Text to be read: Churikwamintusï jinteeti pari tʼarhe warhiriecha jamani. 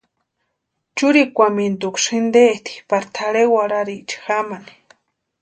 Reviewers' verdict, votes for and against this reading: accepted, 2, 0